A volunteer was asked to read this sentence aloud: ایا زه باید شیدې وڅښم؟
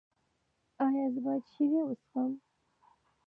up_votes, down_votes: 2, 1